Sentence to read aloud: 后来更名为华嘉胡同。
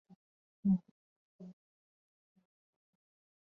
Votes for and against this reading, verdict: 0, 3, rejected